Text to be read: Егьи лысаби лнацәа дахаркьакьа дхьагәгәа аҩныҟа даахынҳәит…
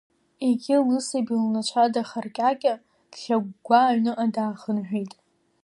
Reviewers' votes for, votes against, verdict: 2, 0, accepted